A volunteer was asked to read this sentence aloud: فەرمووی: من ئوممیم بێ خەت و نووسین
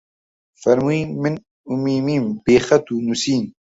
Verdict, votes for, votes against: rejected, 0, 2